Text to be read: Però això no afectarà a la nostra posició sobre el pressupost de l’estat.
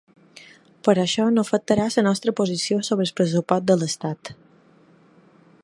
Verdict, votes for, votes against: rejected, 1, 2